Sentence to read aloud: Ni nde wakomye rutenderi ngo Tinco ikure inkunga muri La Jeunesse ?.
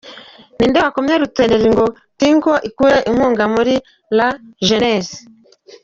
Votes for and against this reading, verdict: 2, 1, accepted